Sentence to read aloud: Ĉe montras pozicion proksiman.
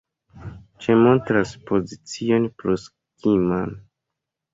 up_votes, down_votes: 1, 2